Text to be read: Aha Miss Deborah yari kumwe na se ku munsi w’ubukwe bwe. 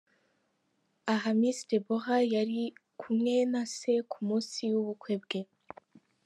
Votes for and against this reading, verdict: 3, 0, accepted